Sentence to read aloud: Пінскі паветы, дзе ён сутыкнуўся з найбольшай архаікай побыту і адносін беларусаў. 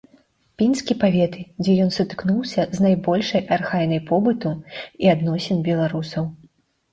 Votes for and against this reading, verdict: 0, 2, rejected